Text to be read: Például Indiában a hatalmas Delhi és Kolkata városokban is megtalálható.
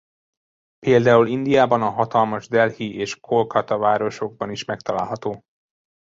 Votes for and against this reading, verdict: 2, 0, accepted